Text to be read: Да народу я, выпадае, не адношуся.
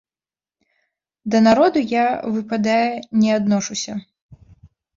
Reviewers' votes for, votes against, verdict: 3, 0, accepted